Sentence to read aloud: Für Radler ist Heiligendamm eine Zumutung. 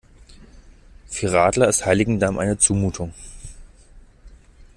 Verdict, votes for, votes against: accepted, 2, 0